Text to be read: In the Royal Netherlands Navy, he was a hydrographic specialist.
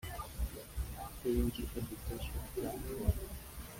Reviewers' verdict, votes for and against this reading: rejected, 0, 2